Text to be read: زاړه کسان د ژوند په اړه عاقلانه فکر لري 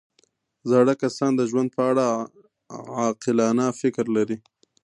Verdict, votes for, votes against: accepted, 2, 1